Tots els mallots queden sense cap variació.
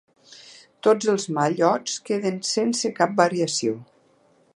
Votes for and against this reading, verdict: 2, 0, accepted